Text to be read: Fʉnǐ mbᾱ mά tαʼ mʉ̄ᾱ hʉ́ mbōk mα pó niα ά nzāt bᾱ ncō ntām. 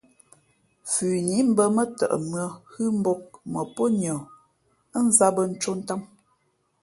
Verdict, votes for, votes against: accepted, 2, 0